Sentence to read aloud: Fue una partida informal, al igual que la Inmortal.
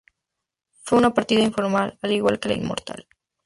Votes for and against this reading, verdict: 2, 0, accepted